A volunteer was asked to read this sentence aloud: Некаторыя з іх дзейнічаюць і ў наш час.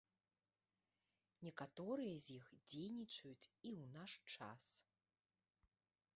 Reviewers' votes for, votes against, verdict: 2, 0, accepted